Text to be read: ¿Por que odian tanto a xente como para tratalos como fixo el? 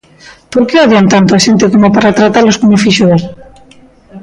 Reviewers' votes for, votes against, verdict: 0, 2, rejected